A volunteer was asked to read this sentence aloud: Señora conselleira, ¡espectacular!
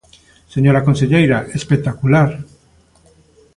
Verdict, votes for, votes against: accepted, 2, 0